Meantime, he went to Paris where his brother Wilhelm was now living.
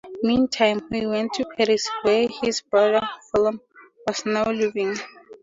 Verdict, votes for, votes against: accepted, 4, 0